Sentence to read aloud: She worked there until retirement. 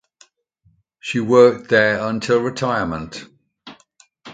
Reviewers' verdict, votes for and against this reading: accepted, 2, 0